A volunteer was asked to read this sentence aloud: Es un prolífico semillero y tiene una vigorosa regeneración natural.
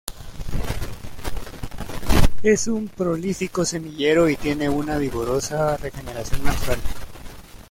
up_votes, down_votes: 2, 0